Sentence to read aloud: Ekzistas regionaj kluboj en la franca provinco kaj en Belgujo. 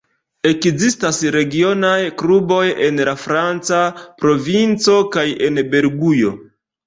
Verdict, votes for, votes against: rejected, 1, 2